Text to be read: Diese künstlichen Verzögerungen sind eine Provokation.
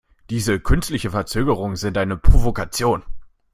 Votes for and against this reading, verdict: 1, 2, rejected